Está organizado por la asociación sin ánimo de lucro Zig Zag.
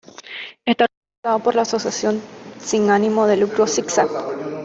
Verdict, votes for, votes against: rejected, 1, 2